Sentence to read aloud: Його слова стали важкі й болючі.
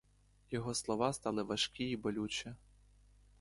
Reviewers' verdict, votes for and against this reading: accepted, 2, 0